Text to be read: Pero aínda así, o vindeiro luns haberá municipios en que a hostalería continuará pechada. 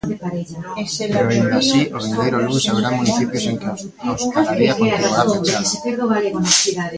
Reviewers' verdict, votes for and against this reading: rejected, 0, 2